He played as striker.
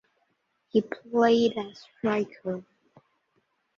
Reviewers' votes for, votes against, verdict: 2, 1, accepted